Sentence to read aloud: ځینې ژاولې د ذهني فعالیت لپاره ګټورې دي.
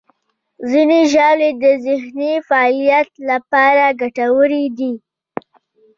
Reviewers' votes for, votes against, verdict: 0, 2, rejected